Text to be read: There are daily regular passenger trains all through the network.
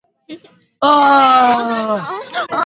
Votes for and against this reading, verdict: 0, 2, rejected